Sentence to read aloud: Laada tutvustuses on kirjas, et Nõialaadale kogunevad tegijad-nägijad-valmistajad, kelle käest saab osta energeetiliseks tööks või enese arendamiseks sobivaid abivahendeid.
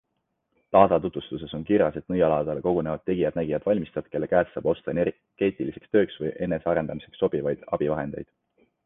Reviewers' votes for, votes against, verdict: 2, 0, accepted